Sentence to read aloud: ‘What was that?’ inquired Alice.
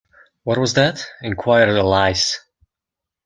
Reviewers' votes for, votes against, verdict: 0, 2, rejected